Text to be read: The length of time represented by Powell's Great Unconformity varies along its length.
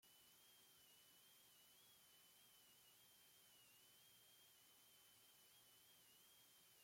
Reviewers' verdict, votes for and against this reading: rejected, 0, 2